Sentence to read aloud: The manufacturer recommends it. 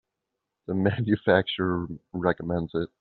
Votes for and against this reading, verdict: 1, 2, rejected